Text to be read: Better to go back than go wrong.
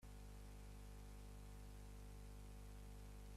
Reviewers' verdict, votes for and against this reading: rejected, 0, 2